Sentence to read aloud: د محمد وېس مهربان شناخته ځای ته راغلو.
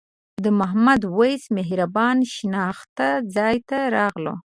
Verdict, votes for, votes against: accepted, 3, 0